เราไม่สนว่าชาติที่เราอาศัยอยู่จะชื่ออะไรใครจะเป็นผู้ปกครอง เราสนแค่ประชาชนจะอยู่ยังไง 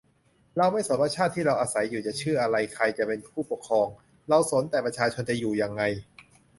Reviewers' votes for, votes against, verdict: 0, 2, rejected